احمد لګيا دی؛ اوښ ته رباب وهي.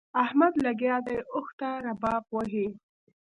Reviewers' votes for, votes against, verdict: 2, 0, accepted